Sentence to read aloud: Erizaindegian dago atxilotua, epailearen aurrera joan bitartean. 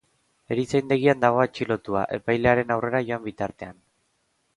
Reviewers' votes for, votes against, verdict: 2, 0, accepted